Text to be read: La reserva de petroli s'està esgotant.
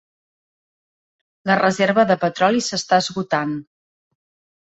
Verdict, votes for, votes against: accepted, 3, 0